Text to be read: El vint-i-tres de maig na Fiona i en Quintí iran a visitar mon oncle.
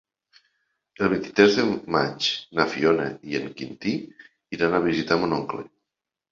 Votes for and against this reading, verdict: 1, 2, rejected